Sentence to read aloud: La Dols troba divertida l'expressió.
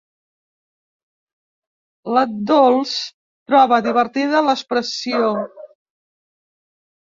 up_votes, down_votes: 1, 2